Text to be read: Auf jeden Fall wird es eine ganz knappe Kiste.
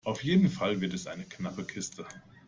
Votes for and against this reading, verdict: 0, 2, rejected